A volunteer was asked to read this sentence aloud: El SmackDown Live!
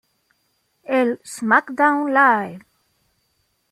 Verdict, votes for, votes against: accepted, 2, 0